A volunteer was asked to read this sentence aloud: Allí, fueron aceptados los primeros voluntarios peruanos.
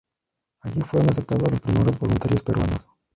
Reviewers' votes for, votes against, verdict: 0, 2, rejected